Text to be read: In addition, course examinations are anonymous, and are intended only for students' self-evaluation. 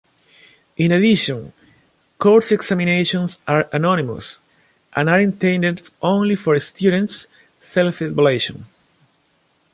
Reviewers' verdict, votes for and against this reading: rejected, 1, 2